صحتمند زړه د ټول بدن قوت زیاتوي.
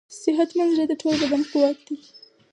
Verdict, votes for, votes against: rejected, 0, 4